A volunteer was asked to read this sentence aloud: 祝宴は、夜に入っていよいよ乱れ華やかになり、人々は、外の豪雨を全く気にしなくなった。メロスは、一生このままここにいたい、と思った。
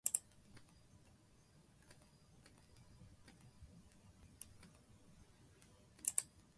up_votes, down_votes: 0, 2